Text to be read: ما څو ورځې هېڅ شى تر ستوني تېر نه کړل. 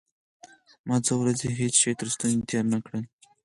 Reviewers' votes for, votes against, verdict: 0, 4, rejected